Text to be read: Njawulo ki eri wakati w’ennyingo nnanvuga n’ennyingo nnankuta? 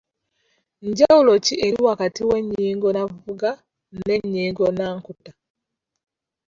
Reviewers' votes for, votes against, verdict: 0, 2, rejected